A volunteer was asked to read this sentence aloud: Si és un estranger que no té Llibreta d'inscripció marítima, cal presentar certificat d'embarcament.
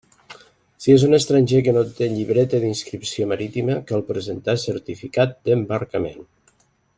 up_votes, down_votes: 3, 0